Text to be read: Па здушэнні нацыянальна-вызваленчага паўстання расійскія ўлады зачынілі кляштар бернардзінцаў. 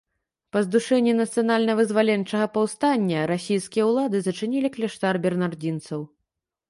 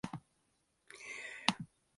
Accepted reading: first